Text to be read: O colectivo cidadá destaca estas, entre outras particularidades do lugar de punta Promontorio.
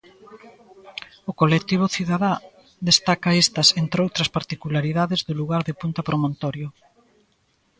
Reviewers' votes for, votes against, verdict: 2, 0, accepted